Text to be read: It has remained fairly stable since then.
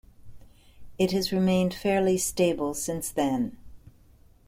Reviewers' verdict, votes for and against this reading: accepted, 2, 0